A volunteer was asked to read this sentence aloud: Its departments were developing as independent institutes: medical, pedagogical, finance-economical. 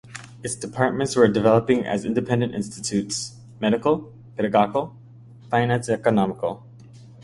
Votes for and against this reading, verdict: 2, 1, accepted